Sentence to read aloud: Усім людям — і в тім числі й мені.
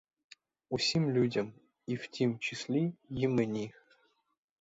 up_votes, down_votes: 4, 0